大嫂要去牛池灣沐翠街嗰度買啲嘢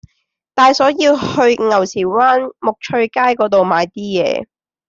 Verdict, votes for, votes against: accepted, 2, 1